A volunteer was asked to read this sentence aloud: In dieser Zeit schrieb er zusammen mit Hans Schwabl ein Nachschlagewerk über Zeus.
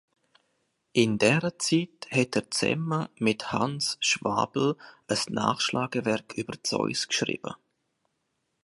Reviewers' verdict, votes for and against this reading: rejected, 0, 2